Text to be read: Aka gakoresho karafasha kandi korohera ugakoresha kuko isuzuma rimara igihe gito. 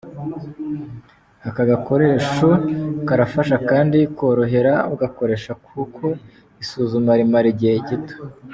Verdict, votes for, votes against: accepted, 3, 0